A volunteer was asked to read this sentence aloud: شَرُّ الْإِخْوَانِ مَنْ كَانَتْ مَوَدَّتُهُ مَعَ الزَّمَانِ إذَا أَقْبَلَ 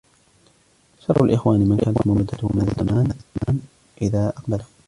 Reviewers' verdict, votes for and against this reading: rejected, 1, 2